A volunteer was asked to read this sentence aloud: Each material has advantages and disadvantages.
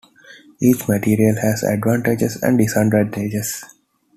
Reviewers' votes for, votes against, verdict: 2, 1, accepted